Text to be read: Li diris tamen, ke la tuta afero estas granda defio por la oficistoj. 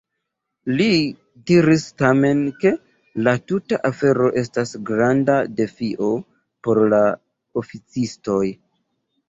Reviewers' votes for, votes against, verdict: 2, 0, accepted